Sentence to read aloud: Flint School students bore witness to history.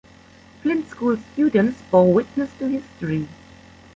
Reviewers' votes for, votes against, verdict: 2, 0, accepted